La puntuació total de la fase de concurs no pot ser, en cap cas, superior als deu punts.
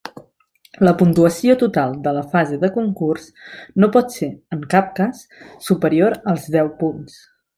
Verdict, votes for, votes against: accepted, 5, 0